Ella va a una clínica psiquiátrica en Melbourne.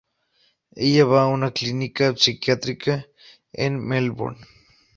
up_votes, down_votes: 4, 0